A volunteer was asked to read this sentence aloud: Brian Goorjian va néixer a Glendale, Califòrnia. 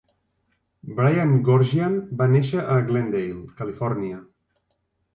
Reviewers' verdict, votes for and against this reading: rejected, 1, 2